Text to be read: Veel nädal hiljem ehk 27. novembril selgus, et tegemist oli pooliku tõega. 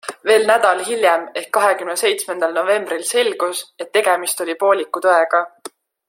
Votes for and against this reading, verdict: 0, 2, rejected